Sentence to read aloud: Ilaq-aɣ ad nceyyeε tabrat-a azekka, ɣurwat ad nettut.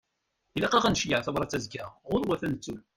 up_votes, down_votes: 2, 0